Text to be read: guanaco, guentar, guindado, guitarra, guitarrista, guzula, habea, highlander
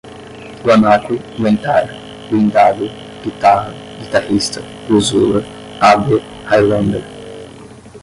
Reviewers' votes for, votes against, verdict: 5, 10, rejected